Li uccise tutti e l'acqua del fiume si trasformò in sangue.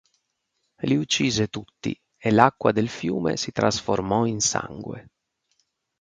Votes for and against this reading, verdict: 4, 0, accepted